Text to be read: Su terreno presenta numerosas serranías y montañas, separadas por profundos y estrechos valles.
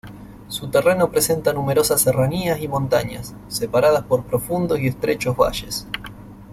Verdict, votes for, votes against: accepted, 2, 0